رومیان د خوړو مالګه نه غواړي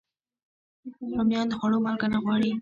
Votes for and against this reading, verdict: 1, 2, rejected